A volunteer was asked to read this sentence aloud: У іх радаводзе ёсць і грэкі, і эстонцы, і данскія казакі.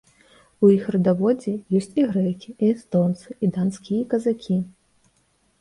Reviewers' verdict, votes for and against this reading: accepted, 2, 0